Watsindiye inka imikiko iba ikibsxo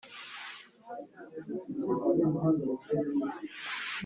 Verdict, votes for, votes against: rejected, 0, 2